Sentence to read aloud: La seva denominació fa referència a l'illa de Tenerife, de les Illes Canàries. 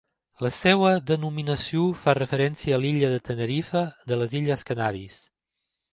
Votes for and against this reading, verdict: 2, 0, accepted